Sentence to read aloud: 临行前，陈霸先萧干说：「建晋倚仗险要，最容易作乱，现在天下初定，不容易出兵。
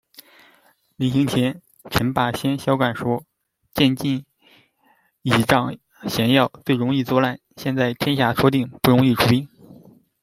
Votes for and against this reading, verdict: 0, 2, rejected